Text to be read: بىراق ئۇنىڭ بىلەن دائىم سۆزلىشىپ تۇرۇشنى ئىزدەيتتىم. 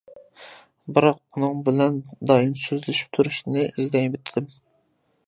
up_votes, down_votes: 0, 2